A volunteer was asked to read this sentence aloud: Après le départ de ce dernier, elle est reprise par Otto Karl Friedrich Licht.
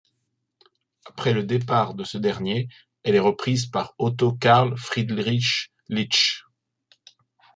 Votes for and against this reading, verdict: 0, 2, rejected